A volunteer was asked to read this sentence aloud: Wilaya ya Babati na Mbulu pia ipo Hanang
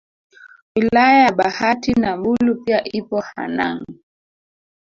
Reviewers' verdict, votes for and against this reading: accepted, 2, 1